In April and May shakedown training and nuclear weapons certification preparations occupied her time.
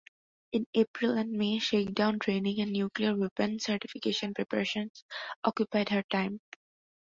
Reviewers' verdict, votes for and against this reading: accepted, 2, 0